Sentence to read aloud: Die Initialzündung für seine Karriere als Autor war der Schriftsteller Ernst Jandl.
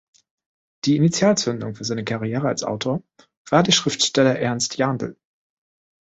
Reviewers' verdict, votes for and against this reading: accepted, 2, 0